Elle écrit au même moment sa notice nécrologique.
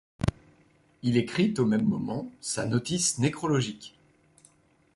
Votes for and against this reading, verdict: 0, 2, rejected